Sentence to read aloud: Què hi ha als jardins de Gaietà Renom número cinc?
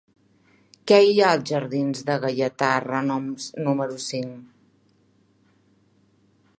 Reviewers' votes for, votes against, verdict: 1, 2, rejected